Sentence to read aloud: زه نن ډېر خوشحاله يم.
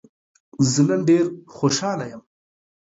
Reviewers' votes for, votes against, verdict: 2, 0, accepted